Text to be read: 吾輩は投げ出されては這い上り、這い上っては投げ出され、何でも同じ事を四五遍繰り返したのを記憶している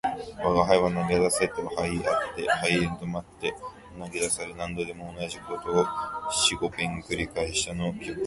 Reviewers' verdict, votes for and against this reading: rejected, 0, 2